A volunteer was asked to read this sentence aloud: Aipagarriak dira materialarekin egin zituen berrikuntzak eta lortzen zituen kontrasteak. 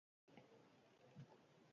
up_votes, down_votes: 0, 2